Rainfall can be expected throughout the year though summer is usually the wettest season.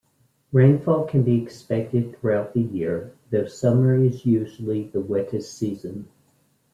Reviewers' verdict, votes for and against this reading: accepted, 3, 0